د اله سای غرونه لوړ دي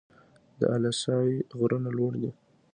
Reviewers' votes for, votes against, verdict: 2, 0, accepted